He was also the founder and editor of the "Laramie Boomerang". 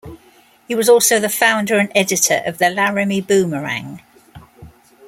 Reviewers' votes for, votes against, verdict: 2, 0, accepted